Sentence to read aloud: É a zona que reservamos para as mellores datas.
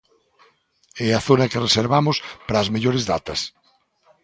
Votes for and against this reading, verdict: 2, 0, accepted